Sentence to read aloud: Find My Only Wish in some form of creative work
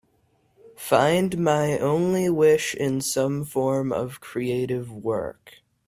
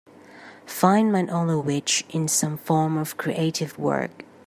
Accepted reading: first